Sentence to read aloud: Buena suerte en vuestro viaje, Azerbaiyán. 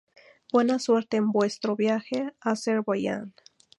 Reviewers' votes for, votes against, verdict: 2, 0, accepted